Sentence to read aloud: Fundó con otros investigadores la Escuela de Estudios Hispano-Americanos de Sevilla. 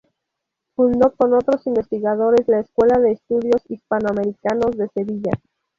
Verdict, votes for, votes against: rejected, 2, 2